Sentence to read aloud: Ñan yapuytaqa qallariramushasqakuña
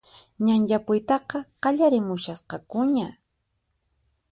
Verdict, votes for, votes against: accepted, 4, 0